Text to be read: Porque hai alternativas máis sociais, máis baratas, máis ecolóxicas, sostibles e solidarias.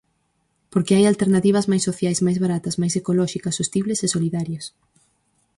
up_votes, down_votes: 4, 0